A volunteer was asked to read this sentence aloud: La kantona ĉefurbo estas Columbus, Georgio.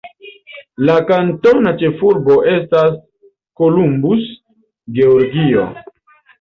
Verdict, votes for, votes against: accepted, 2, 0